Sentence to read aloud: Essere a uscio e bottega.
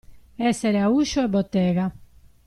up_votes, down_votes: 2, 0